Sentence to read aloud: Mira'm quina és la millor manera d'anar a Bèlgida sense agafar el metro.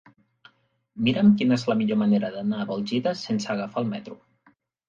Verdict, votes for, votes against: rejected, 1, 2